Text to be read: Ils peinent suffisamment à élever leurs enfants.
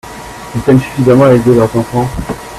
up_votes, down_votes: 2, 0